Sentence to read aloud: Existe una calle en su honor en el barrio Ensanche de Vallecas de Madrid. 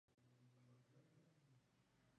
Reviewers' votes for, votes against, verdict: 0, 2, rejected